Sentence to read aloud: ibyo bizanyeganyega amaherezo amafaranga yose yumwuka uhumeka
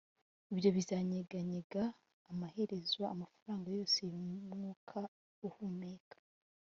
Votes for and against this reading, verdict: 3, 0, accepted